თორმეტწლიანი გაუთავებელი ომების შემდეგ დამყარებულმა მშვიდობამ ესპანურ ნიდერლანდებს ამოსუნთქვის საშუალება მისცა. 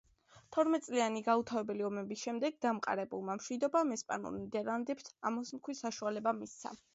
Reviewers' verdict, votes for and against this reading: accepted, 2, 0